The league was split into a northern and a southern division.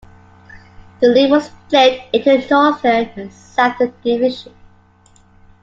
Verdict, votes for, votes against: rejected, 0, 2